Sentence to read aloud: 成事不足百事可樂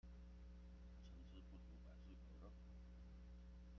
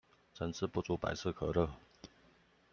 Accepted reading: second